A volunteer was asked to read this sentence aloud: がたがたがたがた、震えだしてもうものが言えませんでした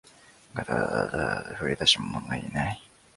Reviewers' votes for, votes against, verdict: 0, 2, rejected